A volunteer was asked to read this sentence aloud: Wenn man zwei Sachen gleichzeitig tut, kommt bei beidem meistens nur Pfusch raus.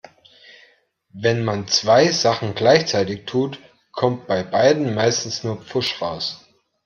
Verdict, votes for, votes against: accepted, 2, 0